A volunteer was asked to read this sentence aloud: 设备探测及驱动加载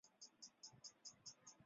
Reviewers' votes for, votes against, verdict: 0, 2, rejected